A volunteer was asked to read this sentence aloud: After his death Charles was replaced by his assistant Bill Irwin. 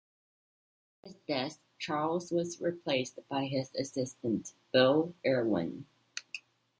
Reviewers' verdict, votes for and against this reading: rejected, 0, 2